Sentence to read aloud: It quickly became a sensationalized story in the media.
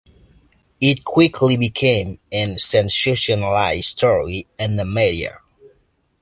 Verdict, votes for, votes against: accepted, 2, 1